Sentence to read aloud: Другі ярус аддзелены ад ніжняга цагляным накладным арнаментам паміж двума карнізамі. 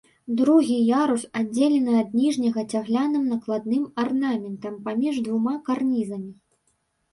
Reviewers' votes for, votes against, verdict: 2, 0, accepted